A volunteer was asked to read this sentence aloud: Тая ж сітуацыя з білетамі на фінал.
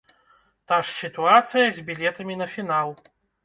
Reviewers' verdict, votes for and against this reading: rejected, 0, 2